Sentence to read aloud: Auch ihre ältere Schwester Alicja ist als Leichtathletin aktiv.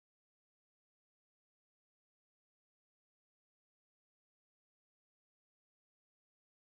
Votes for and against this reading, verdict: 0, 4, rejected